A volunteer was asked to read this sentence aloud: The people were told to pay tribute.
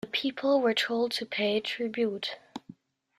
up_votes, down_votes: 2, 0